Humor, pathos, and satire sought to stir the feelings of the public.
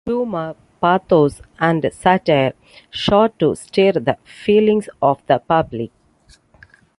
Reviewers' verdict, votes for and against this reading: rejected, 0, 2